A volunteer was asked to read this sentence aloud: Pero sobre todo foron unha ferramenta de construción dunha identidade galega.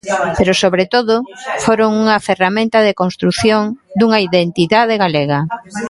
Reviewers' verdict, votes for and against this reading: rejected, 0, 2